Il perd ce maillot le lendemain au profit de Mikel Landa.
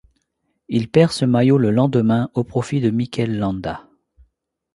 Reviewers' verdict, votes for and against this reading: accepted, 2, 0